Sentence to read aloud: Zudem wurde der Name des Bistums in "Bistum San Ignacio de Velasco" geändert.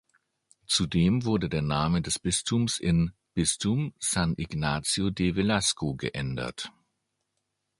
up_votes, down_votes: 2, 0